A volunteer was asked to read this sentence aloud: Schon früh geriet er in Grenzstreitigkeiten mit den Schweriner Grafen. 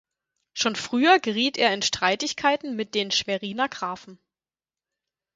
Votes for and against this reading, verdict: 0, 4, rejected